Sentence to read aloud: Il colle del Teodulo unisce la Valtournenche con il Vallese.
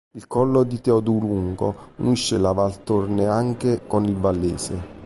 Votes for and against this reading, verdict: 0, 2, rejected